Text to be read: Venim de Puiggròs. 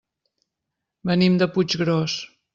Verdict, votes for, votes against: accepted, 3, 0